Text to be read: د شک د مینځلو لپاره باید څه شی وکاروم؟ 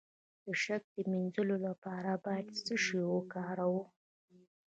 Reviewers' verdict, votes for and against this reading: rejected, 0, 2